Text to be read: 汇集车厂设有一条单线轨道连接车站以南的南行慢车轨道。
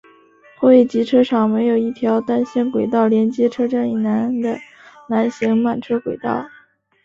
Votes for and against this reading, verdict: 4, 0, accepted